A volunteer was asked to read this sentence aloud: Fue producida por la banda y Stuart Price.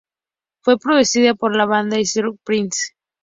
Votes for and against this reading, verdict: 2, 0, accepted